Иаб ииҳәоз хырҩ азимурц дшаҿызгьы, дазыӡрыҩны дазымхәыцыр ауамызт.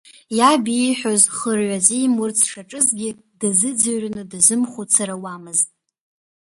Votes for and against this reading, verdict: 2, 1, accepted